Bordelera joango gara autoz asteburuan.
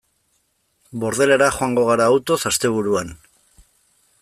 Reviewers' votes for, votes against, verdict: 2, 0, accepted